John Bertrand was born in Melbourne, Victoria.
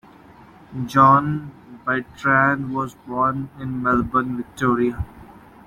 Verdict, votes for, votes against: accepted, 2, 0